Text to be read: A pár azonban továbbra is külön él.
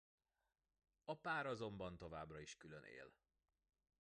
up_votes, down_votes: 1, 2